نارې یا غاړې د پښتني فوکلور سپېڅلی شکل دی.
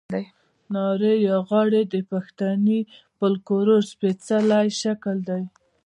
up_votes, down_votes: 0, 2